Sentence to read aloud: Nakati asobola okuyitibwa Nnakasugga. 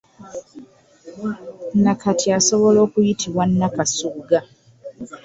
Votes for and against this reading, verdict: 2, 1, accepted